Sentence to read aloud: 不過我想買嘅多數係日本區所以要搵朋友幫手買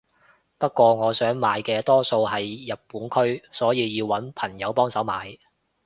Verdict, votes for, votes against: accepted, 2, 0